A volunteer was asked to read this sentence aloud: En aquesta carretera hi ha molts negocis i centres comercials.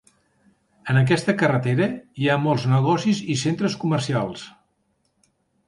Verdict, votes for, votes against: accepted, 3, 0